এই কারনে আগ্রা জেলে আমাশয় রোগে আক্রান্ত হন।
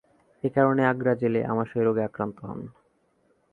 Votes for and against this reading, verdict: 2, 0, accepted